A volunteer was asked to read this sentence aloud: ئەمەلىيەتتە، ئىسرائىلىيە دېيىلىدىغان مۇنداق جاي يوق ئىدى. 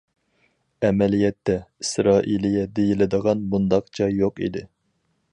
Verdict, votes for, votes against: accepted, 4, 0